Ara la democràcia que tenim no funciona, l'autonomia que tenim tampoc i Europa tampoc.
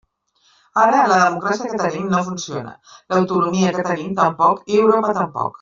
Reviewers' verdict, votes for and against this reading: rejected, 0, 2